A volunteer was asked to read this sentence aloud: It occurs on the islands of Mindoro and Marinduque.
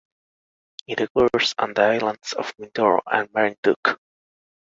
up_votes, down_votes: 2, 0